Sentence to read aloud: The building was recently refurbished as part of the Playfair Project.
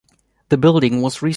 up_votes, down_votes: 0, 2